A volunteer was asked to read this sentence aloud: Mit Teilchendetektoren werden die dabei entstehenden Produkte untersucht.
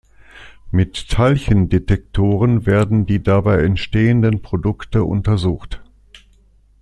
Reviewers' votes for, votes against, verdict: 2, 0, accepted